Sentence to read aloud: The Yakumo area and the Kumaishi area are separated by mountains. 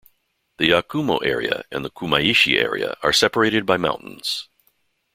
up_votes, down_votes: 2, 0